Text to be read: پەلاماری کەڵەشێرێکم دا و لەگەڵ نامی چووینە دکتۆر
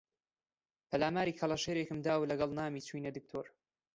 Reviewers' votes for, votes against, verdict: 2, 1, accepted